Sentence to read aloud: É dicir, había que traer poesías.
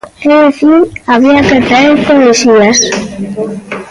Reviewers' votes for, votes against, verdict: 0, 2, rejected